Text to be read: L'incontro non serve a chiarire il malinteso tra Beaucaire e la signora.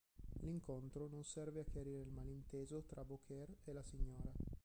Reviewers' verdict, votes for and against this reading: rejected, 1, 3